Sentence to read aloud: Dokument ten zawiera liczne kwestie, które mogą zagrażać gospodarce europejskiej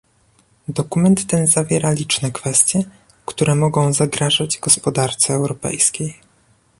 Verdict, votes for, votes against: accepted, 2, 0